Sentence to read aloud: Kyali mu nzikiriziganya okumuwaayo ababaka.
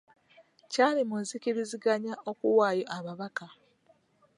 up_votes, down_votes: 1, 2